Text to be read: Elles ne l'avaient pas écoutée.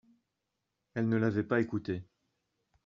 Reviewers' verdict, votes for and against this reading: accepted, 2, 0